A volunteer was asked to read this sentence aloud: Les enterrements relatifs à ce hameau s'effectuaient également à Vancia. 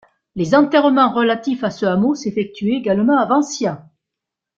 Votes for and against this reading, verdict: 2, 0, accepted